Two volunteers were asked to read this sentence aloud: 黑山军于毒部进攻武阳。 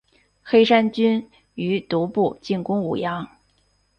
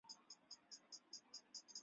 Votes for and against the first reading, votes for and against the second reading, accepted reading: 2, 0, 1, 2, first